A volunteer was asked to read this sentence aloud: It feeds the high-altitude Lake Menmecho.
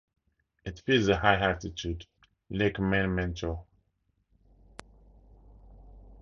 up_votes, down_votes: 0, 4